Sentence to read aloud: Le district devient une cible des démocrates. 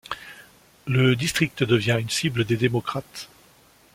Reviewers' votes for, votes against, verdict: 2, 0, accepted